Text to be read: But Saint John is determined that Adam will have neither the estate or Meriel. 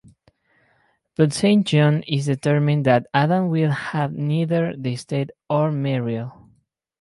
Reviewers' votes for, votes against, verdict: 4, 0, accepted